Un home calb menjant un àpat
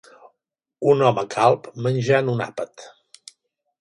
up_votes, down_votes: 3, 0